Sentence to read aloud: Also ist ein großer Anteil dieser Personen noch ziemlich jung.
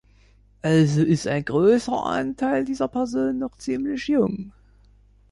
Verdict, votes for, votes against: accepted, 2, 0